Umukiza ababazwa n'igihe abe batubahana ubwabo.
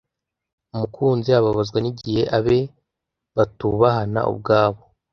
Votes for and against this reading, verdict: 0, 2, rejected